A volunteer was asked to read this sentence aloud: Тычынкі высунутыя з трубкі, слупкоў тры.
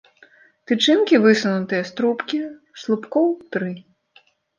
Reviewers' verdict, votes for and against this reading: accepted, 2, 0